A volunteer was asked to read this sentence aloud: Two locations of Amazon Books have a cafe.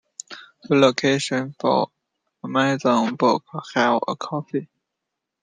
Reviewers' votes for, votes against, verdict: 0, 2, rejected